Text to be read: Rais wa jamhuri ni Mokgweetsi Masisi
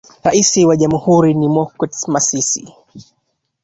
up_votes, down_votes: 1, 2